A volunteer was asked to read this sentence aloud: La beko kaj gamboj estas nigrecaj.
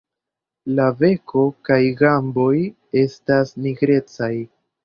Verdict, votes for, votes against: rejected, 1, 2